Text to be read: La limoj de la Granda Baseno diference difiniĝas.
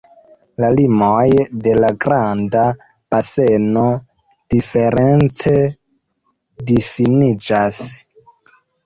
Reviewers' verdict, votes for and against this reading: rejected, 0, 2